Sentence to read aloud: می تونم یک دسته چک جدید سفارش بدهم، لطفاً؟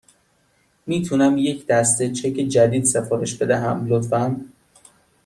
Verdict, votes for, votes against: accepted, 2, 0